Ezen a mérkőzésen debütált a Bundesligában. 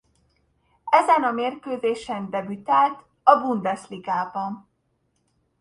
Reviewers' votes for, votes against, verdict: 2, 0, accepted